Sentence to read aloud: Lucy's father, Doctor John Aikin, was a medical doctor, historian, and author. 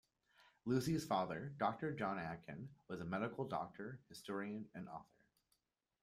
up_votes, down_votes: 0, 2